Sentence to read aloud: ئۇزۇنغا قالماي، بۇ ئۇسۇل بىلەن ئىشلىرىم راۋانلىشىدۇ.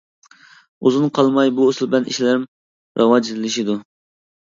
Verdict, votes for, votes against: rejected, 0, 2